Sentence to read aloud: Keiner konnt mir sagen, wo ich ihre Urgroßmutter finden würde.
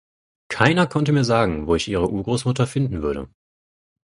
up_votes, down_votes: 0, 4